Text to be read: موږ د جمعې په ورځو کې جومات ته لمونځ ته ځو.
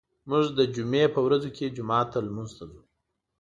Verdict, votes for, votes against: accepted, 2, 0